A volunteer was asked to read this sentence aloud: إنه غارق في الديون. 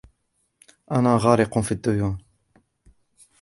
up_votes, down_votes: 0, 2